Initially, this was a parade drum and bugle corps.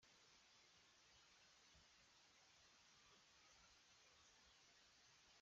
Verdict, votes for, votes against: rejected, 0, 2